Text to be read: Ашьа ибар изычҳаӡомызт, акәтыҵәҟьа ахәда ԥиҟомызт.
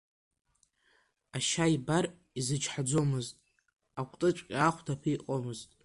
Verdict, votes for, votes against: rejected, 1, 2